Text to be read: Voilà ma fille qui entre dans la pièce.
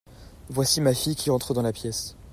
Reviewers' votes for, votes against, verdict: 0, 2, rejected